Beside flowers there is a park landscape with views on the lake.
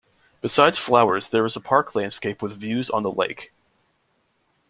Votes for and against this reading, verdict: 2, 0, accepted